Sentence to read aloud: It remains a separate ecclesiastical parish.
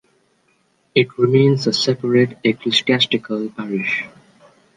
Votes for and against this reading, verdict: 0, 2, rejected